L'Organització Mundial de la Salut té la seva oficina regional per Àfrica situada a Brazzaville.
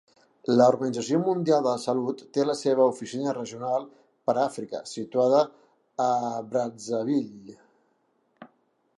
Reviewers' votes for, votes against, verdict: 2, 1, accepted